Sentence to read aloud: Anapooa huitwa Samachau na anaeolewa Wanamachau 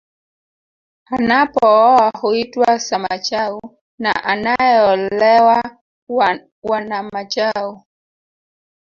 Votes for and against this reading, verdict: 1, 2, rejected